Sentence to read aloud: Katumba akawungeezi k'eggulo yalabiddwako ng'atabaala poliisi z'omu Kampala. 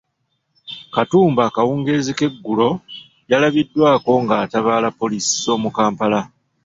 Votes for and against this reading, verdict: 2, 0, accepted